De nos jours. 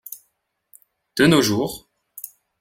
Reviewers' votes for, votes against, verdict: 2, 0, accepted